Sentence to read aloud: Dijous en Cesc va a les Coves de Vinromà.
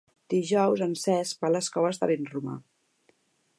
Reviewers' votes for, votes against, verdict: 1, 2, rejected